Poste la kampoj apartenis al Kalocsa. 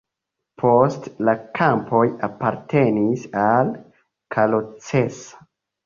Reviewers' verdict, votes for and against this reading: accepted, 2, 1